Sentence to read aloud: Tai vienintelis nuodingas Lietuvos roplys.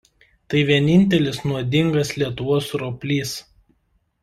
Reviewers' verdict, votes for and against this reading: accepted, 2, 0